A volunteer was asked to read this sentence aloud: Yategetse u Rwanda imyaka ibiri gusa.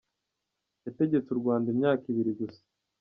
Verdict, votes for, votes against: rejected, 1, 2